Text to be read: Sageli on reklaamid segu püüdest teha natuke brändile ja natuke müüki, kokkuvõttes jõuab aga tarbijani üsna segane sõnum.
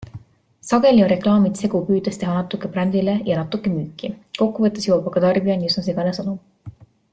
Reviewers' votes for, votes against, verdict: 2, 0, accepted